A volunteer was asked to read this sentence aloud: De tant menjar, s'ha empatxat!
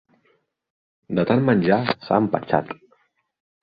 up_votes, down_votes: 1, 2